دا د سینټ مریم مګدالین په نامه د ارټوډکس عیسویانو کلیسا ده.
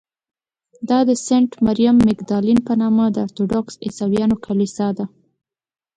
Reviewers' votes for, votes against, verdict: 2, 0, accepted